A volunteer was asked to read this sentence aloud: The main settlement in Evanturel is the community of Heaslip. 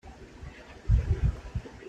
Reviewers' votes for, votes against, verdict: 0, 2, rejected